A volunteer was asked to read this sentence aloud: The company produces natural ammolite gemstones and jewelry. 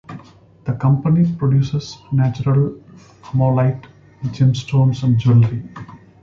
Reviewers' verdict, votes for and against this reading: accepted, 2, 0